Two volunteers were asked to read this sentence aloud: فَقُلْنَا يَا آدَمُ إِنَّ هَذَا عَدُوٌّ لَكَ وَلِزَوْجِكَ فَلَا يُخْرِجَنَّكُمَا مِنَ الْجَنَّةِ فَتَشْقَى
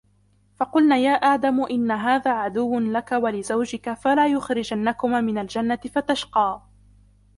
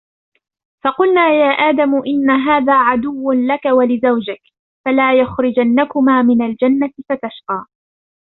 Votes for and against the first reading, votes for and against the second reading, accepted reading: 1, 2, 2, 1, second